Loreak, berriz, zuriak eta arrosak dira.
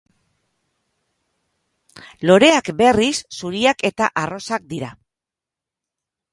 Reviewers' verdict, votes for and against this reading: accepted, 4, 1